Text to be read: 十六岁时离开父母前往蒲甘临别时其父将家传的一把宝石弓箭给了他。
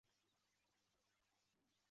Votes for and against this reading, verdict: 1, 2, rejected